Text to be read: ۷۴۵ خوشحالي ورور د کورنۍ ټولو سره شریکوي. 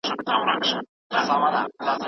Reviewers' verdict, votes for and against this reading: rejected, 0, 2